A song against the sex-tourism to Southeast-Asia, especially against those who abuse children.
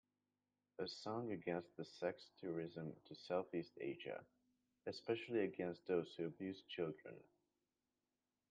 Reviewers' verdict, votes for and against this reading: rejected, 0, 2